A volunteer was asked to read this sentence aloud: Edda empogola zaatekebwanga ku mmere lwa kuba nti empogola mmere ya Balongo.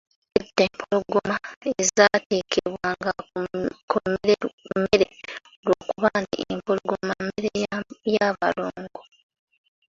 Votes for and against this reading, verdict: 0, 2, rejected